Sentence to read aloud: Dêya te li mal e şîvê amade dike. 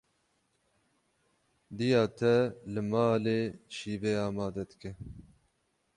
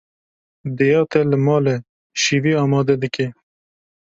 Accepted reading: second